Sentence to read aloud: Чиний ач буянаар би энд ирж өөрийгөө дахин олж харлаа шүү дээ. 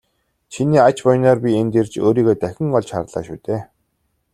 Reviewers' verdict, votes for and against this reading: accepted, 2, 0